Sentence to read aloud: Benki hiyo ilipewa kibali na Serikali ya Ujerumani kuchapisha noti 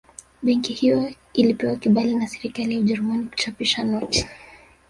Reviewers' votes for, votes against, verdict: 1, 2, rejected